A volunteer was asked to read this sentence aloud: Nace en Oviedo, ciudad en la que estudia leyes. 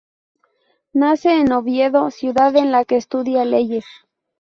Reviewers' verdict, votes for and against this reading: accepted, 4, 0